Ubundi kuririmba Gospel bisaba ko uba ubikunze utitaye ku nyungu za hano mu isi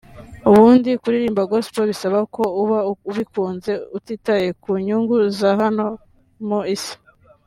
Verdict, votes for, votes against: accepted, 2, 0